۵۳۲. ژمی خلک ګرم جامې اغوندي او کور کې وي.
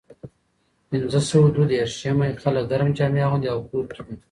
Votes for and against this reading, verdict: 0, 2, rejected